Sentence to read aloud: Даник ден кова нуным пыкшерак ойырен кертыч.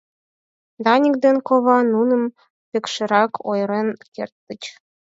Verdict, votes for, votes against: accepted, 4, 0